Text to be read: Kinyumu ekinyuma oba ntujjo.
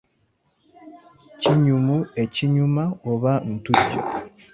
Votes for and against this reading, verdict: 1, 2, rejected